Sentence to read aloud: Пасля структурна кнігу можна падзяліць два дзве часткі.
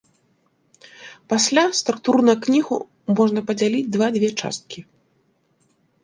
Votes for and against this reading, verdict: 2, 0, accepted